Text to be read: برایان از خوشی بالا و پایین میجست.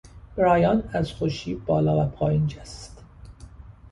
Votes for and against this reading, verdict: 0, 2, rejected